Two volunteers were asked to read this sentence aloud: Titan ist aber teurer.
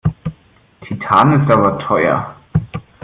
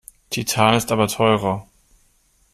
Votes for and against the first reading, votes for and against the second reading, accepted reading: 1, 2, 2, 0, second